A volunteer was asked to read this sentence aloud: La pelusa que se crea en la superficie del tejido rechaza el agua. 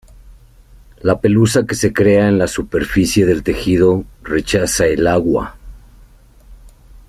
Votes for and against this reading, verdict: 2, 0, accepted